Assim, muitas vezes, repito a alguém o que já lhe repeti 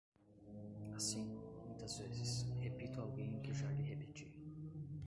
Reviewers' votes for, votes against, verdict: 0, 2, rejected